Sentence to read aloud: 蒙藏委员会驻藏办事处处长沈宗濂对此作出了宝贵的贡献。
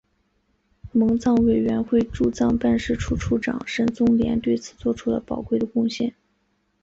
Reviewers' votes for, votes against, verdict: 2, 0, accepted